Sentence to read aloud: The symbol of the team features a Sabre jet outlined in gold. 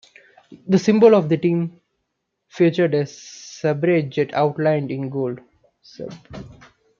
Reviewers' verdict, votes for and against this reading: rejected, 0, 2